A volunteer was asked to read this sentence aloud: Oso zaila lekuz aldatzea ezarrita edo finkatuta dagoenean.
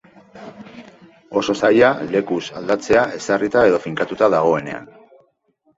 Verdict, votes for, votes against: accepted, 2, 0